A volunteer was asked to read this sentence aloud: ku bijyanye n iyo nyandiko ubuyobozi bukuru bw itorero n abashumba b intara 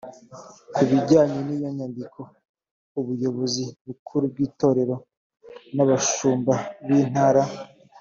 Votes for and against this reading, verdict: 3, 0, accepted